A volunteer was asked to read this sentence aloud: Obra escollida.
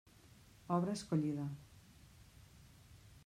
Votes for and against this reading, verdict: 0, 2, rejected